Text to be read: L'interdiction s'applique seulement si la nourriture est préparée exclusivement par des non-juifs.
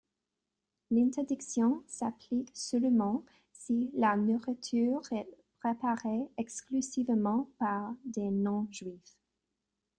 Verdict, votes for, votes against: rejected, 0, 2